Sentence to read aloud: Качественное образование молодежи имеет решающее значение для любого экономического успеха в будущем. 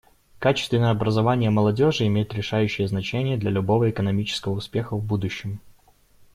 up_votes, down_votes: 2, 0